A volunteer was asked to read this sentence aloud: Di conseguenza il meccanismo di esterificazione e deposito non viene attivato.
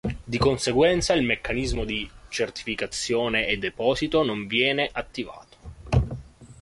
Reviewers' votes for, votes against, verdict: 0, 2, rejected